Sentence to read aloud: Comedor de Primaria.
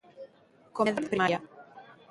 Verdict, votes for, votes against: rejected, 0, 2